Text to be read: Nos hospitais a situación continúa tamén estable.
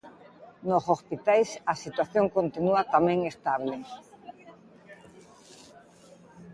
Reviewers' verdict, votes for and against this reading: rejected, 0, 2